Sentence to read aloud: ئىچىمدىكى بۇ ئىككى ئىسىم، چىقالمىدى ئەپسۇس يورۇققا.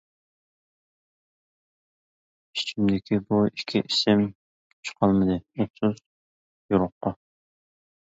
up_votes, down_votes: 1, 2